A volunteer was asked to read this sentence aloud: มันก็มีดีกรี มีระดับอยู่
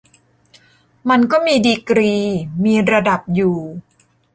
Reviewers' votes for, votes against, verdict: 3, 0, accepted